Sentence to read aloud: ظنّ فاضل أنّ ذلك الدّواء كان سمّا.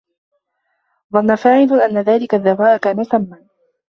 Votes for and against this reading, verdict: 1, 2, rejected